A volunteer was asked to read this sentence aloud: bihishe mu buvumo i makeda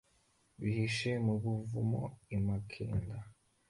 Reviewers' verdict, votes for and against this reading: accepted, 2, 0